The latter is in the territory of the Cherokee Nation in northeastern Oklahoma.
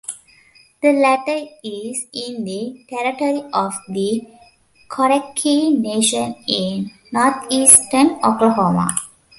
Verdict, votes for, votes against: rejected, 0, 2